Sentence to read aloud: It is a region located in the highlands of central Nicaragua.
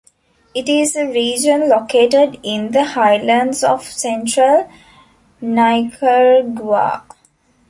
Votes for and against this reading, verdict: 0, 2, rejected